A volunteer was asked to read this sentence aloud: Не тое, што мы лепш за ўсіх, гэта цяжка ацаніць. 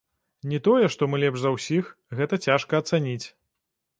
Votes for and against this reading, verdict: 2, 0, accepted